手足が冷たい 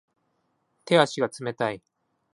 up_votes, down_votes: 2, 0